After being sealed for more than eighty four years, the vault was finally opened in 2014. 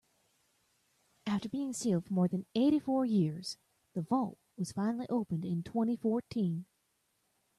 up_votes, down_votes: 0, 2